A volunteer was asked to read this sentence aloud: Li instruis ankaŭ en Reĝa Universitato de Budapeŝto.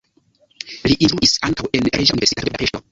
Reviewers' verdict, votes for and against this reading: rejected, 0, 2